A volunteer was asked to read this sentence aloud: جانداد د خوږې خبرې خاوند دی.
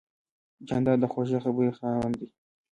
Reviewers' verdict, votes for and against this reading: rejected, 0, 2